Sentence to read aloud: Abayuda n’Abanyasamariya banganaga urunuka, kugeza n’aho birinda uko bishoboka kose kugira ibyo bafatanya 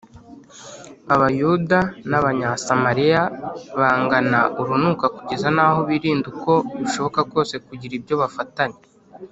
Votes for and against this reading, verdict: 2, 0, accepted